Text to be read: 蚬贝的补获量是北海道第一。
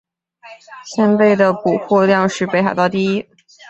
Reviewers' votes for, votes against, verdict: 3, 0, accepted